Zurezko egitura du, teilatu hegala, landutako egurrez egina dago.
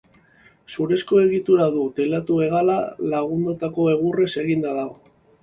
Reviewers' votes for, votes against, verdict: 2, 0, accepted